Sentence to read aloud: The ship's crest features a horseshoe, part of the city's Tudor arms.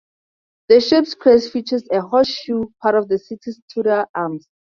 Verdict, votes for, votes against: accepted, 4, 0